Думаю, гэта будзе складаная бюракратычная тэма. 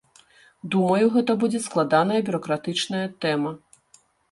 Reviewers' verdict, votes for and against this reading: accepted, 2, 0